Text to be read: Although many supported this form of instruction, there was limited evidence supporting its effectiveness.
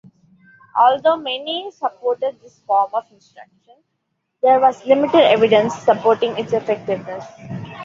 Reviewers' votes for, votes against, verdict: 2, 1, accepted